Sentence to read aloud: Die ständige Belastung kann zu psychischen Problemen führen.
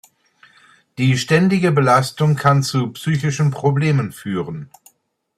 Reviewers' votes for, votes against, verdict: 2, 0, accepted